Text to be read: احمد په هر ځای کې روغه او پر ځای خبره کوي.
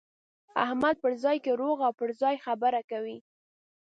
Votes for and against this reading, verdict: 1, 2, rejected